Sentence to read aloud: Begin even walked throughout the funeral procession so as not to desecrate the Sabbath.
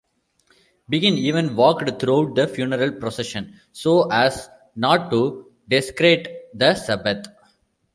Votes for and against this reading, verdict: 0, 2, rejected